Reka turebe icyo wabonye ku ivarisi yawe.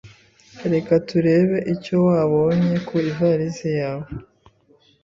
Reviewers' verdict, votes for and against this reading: accepted, 2, 0